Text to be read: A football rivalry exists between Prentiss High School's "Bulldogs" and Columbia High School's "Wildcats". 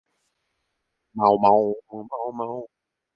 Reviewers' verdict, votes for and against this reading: rejected, 0, 2